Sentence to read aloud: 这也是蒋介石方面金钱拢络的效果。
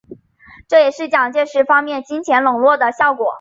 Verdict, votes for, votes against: accepted, 3, 0